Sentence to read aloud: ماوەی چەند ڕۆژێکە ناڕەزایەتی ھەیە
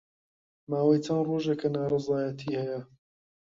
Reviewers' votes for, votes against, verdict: 2, 0, accepted